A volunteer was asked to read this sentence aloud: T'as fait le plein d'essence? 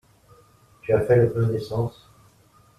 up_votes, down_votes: 1, 2